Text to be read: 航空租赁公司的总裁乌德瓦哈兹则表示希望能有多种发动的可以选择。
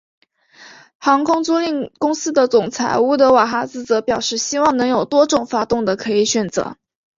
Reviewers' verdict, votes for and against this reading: accepted, 2, 1